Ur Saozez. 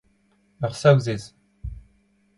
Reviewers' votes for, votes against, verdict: 2, 0, accepted